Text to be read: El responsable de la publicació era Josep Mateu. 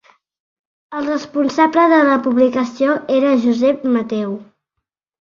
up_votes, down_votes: 2, 0